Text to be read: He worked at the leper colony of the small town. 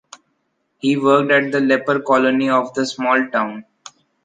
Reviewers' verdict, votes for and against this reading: accepted, 2, 0